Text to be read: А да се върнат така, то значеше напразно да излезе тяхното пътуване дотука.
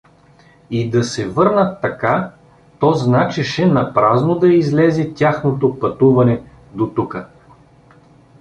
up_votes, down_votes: 0, 2